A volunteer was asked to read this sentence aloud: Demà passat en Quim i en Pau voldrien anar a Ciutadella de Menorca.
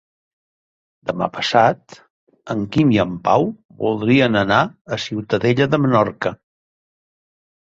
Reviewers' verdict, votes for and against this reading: accepted, 4, 0